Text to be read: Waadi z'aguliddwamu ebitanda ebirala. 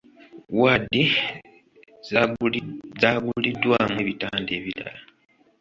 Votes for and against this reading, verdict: 0, 2, rejected